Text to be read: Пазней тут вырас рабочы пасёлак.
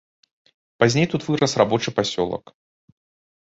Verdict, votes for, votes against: rejected, 1, 2